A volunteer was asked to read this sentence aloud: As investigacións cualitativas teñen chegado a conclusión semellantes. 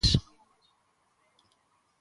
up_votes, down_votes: 0, 2